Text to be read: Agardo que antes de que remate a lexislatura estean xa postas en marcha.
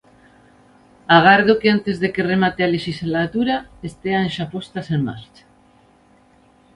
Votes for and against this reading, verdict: 2, 0, accepted